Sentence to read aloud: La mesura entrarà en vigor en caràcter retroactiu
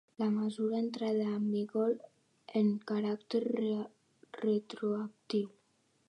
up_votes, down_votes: 0, 2